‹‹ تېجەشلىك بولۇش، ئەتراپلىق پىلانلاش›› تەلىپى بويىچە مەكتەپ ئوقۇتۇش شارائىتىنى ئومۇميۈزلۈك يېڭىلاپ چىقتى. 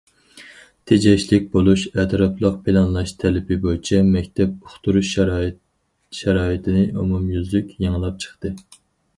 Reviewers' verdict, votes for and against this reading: rejected, 0, 4